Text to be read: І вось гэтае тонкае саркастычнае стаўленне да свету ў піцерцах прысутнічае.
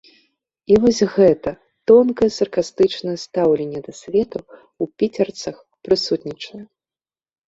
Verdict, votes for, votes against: rejected, 1, 2